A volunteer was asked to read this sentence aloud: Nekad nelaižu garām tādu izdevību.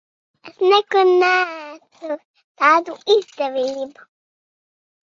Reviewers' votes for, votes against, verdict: 0, 2, rejected